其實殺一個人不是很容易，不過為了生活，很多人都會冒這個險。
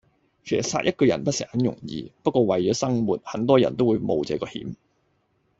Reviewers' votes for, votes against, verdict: 0, 2, rejected